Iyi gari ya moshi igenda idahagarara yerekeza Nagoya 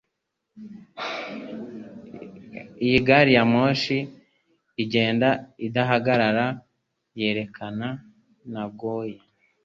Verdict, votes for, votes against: rejected, 1, 3